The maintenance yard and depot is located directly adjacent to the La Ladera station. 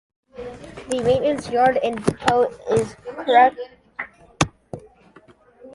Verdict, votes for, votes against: rejected, 0, 2